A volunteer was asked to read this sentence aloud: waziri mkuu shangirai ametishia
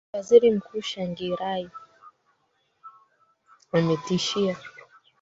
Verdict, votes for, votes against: rejected, 2, 3